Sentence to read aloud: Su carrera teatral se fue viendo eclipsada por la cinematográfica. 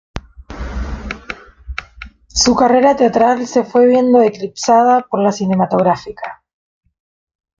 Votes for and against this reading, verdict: 2, 0, accepted